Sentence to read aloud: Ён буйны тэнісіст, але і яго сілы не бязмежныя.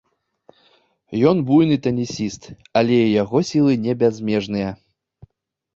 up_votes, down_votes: 1, 2